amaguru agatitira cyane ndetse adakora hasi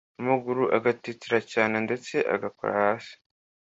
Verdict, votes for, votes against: rejected, 1, 2